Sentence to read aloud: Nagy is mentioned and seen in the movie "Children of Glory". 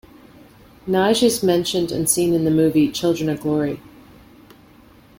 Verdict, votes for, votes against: accepted, 2, 0